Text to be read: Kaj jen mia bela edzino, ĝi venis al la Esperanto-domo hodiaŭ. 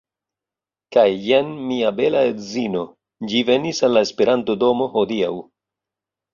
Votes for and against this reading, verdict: 2, 0, accepted